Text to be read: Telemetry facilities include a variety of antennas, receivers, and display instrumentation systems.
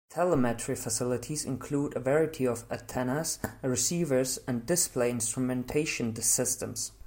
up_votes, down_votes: 2, 0